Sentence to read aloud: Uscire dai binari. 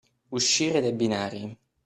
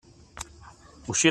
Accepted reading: first